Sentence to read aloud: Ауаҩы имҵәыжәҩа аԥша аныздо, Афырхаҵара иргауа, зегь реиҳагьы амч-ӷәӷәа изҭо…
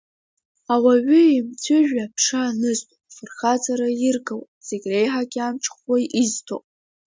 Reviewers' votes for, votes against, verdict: 1, 2, rejected